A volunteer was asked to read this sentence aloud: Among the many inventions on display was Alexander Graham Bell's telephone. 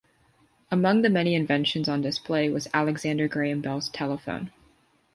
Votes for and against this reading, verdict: 2, 0, accepted